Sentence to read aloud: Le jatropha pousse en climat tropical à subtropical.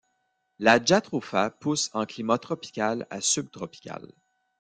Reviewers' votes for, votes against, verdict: 0, 2, rejected